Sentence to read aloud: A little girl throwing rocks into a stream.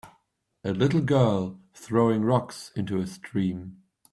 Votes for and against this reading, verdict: 2, 0, accepted